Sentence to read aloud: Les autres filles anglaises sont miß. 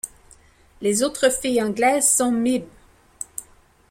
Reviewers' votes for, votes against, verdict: 2, 1, accepted